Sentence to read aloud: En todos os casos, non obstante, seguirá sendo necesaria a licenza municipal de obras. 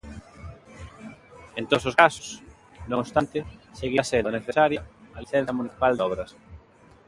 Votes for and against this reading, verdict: 2, 0, accepted